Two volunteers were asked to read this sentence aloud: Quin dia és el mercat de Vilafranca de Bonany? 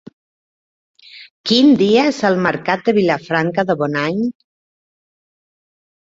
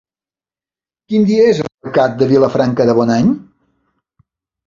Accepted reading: first